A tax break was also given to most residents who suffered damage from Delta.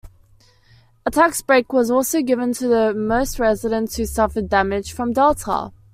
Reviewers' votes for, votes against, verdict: 2, 1, accepted